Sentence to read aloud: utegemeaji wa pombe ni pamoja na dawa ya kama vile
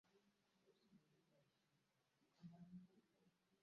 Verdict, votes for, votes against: rejected, 0, 2